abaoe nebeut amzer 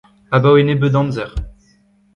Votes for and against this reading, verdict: 2, 0, accepted